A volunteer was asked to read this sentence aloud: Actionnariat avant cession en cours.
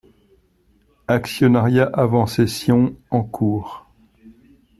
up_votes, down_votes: 2, 0